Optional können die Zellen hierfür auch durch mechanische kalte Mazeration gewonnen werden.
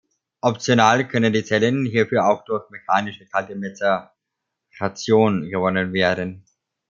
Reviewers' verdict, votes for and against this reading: rejected, 1, 2